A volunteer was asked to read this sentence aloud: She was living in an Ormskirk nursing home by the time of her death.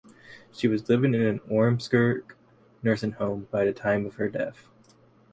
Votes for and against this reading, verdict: 2, 0, accepted